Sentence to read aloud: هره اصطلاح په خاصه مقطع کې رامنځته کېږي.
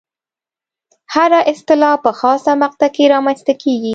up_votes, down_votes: 2, 0